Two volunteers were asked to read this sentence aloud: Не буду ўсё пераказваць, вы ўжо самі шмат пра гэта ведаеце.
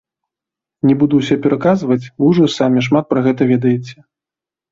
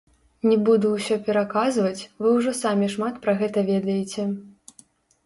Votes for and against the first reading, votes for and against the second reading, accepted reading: 3, 0, 1, 2, first